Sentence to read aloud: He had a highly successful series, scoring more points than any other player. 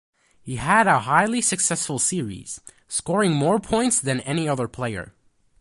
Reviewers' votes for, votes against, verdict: 2, 0, accepted